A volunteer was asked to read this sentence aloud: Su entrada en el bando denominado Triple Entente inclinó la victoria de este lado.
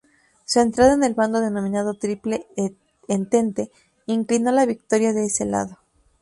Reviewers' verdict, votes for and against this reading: rejected, 0, 4